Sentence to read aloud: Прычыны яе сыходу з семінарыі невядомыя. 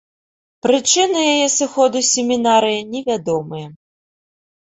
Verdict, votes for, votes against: accepted, 2, 0